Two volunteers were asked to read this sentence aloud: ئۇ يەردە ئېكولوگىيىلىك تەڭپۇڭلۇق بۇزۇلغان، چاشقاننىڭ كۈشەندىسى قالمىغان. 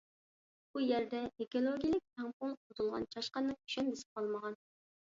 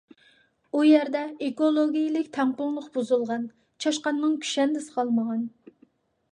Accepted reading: second